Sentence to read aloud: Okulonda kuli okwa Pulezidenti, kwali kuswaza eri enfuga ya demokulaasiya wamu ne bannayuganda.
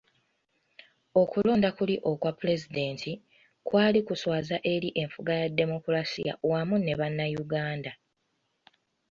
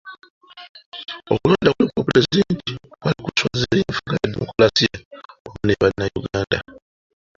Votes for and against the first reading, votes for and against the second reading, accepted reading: 2, 0, 0, 2, first